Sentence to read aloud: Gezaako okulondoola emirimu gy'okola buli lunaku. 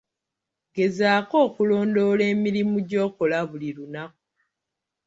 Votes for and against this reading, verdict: 2, 0, accepted